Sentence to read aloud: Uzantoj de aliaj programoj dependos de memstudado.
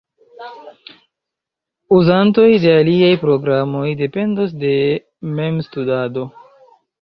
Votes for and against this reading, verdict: 2, 1, accepted